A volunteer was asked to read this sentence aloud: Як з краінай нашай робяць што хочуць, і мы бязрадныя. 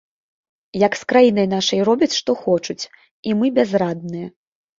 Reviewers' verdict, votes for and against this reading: accepted, 2, 0